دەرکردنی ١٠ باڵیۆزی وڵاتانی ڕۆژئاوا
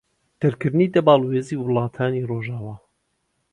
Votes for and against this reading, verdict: 0, 2, rejected